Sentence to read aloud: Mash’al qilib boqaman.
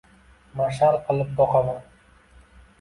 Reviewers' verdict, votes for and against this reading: accepted, 2, 0